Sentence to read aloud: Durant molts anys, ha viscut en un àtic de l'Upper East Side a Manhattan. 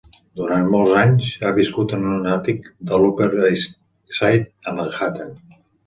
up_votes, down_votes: 3, 0